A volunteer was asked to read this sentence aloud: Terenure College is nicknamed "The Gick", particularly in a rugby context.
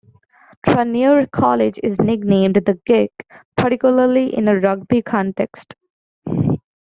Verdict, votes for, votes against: rejected, 0, 2